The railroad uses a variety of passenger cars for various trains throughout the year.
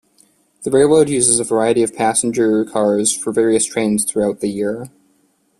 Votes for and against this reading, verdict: 2, 0, accepted